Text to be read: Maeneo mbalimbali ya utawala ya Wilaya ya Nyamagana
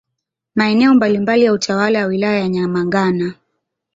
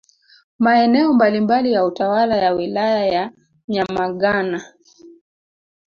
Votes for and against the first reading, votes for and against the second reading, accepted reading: 1, 2, 2, 0, second